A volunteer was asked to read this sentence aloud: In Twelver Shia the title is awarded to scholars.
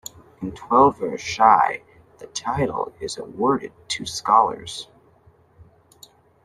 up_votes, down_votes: 0, 2